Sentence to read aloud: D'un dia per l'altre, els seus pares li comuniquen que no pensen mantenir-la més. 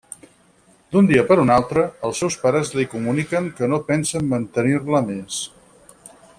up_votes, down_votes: 0, 4